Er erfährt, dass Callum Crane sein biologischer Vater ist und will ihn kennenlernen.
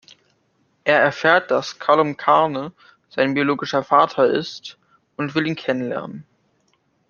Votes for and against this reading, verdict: 0, 2, rejected